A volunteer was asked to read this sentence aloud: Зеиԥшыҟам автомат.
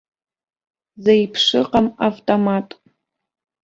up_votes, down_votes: 2, 0